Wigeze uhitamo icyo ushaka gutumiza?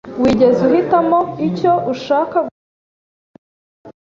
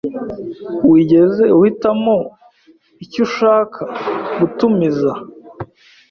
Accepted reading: second